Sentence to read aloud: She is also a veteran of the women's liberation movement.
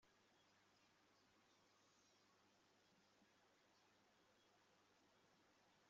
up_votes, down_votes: 0, 2